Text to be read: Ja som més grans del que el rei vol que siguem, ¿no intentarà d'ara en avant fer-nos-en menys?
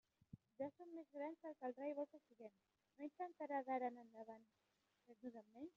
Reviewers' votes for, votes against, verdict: 0, 2, rejected